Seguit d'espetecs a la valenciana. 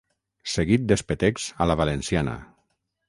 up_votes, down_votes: 6, 0